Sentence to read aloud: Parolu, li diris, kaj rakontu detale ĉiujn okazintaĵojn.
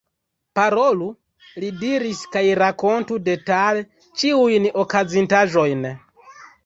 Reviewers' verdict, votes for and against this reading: rejected, 1, 2